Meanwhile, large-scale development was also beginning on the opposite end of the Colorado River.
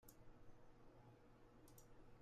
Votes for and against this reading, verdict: 0, 2, rejected